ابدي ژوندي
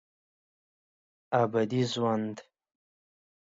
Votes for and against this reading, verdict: 1, 2, rejected